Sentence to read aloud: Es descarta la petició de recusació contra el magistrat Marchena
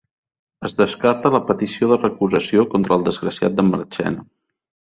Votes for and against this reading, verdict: 1, 2, rejected